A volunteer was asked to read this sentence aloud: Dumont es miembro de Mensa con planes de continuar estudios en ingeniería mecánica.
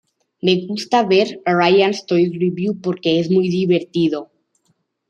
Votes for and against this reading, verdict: 0, 2, rejected